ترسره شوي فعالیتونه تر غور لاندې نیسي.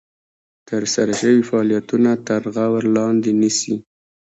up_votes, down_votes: 1, 2